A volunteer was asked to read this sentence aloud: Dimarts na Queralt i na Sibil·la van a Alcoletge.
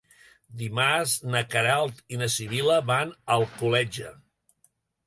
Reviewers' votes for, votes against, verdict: 2, 0, accepted